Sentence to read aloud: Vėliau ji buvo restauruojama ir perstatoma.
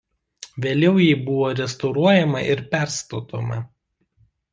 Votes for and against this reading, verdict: 2, 1, accepted